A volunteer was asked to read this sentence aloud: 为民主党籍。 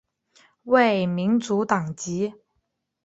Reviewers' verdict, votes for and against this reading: accepted, 2, 1